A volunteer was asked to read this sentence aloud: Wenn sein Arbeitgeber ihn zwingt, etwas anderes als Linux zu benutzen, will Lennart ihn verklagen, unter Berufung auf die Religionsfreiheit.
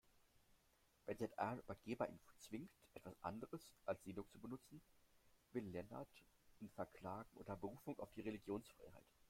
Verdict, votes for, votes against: rejected, 1, 2